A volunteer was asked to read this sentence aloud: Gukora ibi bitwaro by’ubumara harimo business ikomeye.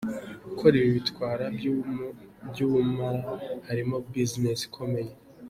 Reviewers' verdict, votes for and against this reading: rejected, 0, 2